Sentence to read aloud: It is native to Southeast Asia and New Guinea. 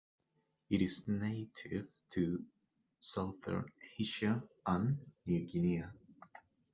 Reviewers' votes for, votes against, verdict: 1, 2, rejected